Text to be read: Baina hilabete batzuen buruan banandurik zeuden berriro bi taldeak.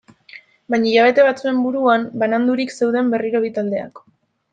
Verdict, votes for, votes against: accepted, 2, 0